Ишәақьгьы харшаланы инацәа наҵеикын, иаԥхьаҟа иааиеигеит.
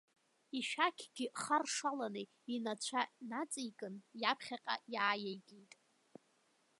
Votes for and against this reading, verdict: 2, 1, accepted